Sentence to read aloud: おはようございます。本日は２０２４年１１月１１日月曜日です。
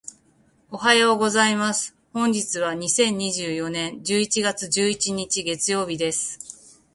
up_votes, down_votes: 0, 2